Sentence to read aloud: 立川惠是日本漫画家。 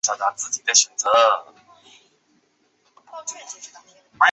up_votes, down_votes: 1, 2